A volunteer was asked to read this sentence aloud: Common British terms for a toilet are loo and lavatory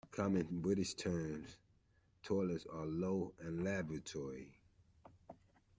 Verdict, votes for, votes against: rejected, 0, 2